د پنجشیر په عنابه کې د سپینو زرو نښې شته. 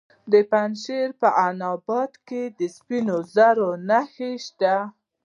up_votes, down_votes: 0, 2